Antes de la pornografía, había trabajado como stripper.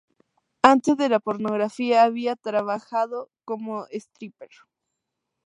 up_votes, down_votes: 2, 0